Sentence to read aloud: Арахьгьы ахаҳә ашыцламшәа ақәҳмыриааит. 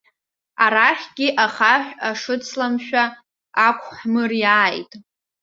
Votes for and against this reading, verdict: 1, 2, rejected